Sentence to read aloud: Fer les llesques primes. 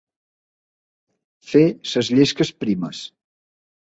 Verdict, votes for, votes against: rejected, 1, 3